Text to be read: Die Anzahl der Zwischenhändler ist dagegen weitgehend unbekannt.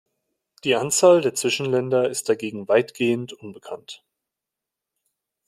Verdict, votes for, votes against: rejected, 1, 2